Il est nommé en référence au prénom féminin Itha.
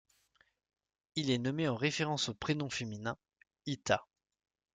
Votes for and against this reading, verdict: 2, 0, accepted